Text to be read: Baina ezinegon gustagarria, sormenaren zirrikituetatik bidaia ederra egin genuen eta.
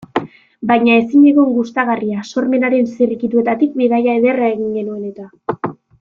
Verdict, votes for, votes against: accepted, 2, 1